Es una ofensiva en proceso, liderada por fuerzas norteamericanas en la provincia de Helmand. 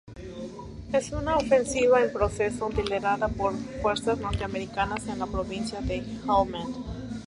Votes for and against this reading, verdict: 2, 0, accepted